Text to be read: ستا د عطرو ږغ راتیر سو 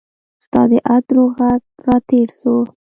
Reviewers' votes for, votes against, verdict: 0, 2, rejected